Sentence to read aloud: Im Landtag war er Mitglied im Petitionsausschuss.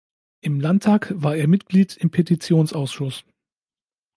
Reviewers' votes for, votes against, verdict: 2, 0, accepted